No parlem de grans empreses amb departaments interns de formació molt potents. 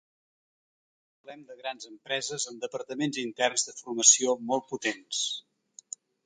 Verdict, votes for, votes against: rejected, 0, 2